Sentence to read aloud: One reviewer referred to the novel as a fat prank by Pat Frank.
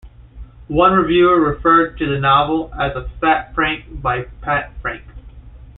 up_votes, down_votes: 2, 0